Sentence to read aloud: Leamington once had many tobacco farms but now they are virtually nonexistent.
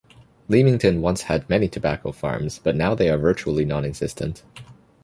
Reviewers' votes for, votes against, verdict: 2, 0, accepted